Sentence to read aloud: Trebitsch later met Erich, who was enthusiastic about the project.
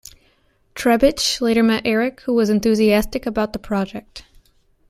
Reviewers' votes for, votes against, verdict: 2, 0, accepted